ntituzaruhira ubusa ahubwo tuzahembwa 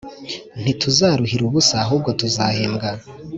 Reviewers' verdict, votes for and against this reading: accepted, 2, 0